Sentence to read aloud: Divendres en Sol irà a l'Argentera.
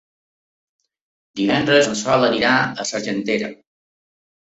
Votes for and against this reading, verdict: 1, 2, rejected